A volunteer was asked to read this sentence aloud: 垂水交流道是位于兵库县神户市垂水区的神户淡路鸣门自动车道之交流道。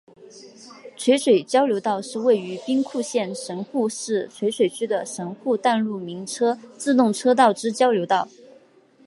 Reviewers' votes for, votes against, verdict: 0, 2, rejected